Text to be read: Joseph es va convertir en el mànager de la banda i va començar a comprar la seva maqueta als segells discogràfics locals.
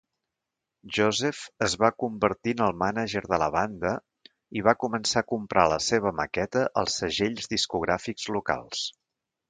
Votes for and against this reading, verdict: 2, 0, accepted